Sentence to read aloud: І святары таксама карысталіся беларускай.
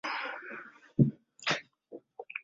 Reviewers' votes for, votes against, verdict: 0, 2, rejected